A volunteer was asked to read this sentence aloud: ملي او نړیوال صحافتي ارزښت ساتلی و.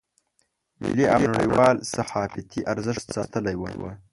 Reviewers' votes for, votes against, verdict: 0, 2, rejected